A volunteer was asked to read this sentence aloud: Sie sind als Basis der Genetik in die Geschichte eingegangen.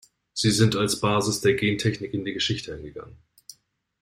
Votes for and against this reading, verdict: 1, 2, rejected